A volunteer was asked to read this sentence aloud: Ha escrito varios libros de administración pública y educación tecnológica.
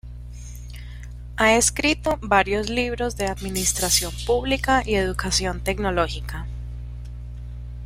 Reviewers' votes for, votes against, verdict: 2, 0, accepted